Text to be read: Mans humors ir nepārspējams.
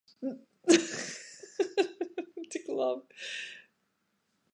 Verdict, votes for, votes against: rejected, 0, 2